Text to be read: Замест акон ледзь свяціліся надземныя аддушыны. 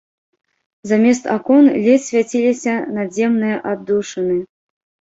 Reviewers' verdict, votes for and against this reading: rejected, 1, 2